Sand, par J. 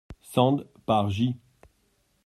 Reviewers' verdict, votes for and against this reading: accepted, 2, 0